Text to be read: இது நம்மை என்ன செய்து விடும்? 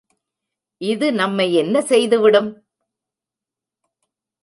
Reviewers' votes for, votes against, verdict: 2, 0, accepted